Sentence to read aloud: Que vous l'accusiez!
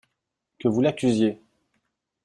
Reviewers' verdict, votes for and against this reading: accepted, 2, 0